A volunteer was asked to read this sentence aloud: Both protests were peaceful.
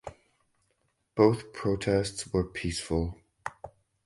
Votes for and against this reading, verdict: 2, 2, rejected